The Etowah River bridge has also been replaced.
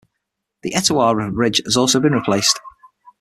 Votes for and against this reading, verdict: 0, 6, rejected